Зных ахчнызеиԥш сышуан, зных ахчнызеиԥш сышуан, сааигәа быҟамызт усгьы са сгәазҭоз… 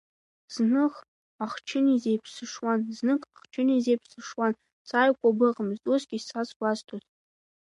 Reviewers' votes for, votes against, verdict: 1, 2, rejected